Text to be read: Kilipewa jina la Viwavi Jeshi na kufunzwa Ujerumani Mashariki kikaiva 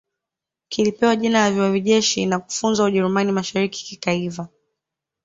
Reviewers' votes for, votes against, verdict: 1, 2, rejected